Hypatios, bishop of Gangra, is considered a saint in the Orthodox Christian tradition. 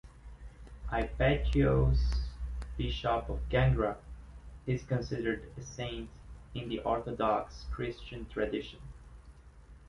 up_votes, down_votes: 2, 0